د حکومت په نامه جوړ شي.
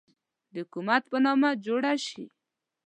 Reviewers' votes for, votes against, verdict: 2, 0, accepted